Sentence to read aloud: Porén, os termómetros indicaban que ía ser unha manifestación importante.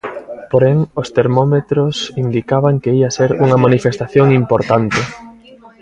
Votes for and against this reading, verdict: 0, 2, rejected